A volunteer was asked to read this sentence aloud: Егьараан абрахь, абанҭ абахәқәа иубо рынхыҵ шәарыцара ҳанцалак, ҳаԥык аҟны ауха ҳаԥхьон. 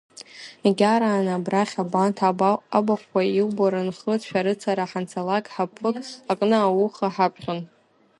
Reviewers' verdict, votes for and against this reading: rejected, 0, 2